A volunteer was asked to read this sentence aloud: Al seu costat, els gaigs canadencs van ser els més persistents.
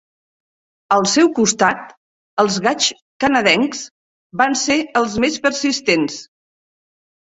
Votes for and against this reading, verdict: 3, 0, accepted